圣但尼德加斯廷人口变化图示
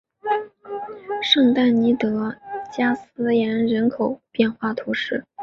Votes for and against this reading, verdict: 0, 2, rejected